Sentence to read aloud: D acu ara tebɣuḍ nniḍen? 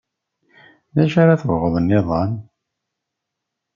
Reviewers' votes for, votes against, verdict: 2, 0, accepted